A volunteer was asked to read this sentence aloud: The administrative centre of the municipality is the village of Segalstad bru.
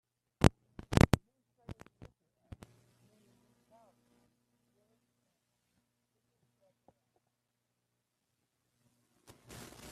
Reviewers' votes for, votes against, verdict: 0, 2, rejected